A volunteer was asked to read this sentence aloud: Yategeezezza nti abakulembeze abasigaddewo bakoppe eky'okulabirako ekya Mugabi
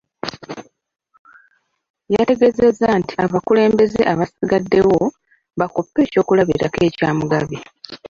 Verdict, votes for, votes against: accepted, 2, 0